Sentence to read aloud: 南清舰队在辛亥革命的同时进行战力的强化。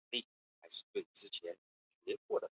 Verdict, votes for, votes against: rejected, 0, 3